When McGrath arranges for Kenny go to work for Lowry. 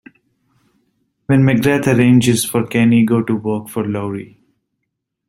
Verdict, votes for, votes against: rejected, 1, 2